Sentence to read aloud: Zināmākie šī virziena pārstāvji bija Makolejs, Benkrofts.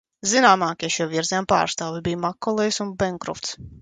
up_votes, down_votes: 2, 3